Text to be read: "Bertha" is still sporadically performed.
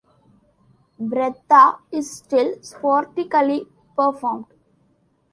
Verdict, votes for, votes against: rejected, 0, 2